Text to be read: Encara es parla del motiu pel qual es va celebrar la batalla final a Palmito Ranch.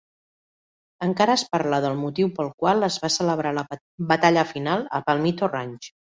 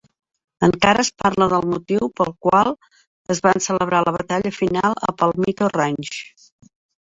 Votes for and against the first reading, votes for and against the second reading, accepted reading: 3, 0, 0, 2, first